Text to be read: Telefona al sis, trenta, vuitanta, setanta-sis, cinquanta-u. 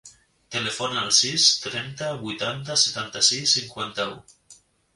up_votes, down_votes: 2, 0